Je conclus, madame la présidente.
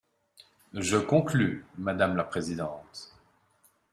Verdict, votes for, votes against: rejected, 1, 2